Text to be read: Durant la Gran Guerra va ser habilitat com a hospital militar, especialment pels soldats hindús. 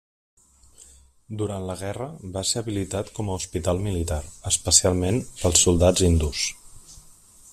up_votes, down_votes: 0, 2